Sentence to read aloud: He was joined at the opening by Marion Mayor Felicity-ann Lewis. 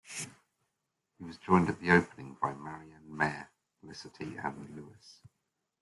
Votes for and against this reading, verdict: 2, 1, accepted